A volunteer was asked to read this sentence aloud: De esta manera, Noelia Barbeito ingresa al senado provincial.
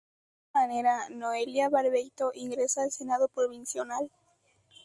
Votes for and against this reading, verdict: 0, 2, rejected